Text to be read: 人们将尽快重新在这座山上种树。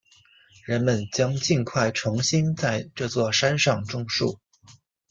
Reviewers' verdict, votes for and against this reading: rejected, 1, 2